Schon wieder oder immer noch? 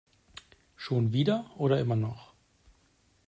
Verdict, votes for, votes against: accepted, 2, 0